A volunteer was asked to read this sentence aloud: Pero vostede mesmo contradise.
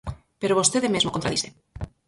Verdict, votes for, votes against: rejected, 2, 4